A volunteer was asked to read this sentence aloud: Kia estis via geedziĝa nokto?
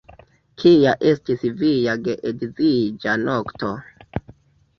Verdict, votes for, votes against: accepted, 2, 1